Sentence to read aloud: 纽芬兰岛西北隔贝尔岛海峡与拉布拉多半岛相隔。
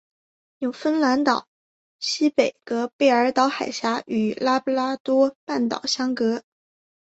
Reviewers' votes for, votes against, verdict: 3, 0, accepted